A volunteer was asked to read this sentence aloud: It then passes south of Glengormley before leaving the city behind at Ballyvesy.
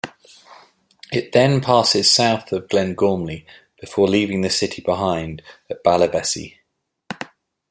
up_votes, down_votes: 2, 0